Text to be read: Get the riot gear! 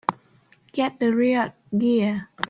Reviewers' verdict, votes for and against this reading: rejected, 0, 2